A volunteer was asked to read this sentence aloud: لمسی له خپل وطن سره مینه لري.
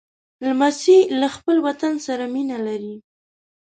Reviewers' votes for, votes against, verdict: 0, 2, rejected